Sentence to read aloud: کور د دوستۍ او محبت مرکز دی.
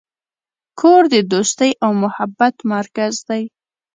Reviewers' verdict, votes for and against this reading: accepted, 2, 0